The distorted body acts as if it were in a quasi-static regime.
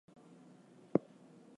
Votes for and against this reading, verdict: 0, 2, rejected